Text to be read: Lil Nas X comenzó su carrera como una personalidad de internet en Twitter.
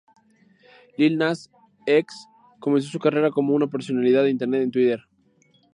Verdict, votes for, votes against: accepted, 2, 0